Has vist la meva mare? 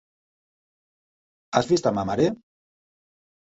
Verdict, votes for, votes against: rejected, 1, 2